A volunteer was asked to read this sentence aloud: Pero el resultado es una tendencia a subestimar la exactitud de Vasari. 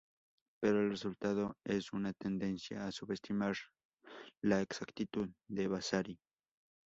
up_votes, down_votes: 0, 2